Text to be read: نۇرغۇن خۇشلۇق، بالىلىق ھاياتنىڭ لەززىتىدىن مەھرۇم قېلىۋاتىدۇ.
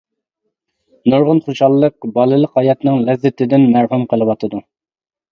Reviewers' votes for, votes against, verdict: 0, 2, rejected